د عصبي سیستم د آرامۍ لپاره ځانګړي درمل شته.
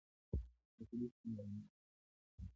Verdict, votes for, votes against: rejected, 1, 2